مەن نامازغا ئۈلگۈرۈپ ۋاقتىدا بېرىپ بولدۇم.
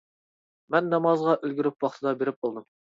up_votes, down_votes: 1, 2